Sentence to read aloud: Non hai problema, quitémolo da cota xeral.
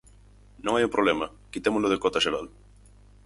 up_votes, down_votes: 2, 4